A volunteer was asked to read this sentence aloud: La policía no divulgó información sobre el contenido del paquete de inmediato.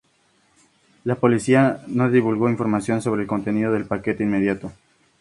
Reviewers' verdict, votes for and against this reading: accepted, 2, 0